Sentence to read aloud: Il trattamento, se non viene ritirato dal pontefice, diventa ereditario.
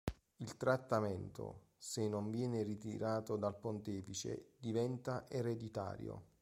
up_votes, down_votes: 2, 0